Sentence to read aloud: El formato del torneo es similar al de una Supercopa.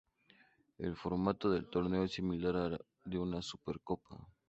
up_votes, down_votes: 2, 0